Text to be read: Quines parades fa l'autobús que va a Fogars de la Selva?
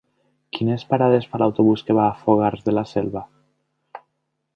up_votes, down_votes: 3, 0